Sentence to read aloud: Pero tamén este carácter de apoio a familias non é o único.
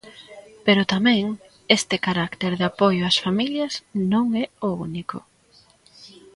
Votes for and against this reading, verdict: 0, 2, rejected